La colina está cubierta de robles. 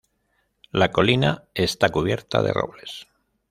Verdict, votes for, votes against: accepted, 2, 0